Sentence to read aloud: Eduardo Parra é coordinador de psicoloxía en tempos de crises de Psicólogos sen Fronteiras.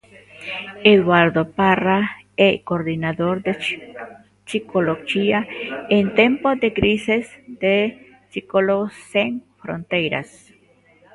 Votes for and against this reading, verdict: 0, 2, rejected